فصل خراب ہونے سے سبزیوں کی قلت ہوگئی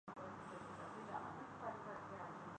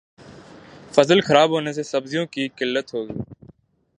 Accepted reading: second